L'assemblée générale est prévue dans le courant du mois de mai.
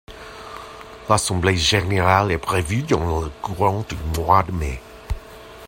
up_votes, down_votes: 2, 1